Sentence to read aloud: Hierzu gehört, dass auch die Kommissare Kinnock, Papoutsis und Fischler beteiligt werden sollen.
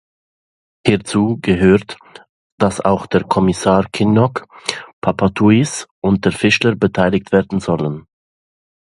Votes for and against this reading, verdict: 1, 2, rejected